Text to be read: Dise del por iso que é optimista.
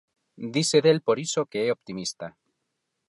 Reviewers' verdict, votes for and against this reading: accepted, 4, 0